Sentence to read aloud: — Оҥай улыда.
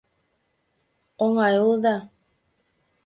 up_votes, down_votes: 3, 0